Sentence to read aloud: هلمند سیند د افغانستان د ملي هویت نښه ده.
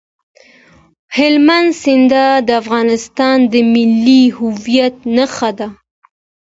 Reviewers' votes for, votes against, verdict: 2, 0, accepted